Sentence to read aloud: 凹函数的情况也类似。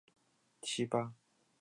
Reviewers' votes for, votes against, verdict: 1, 4, rejected